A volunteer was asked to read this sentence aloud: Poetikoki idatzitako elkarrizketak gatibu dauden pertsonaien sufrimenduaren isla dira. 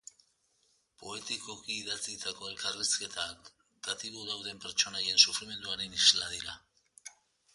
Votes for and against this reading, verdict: 0, 2, rejected